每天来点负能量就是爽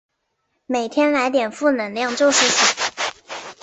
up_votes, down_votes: 2, 0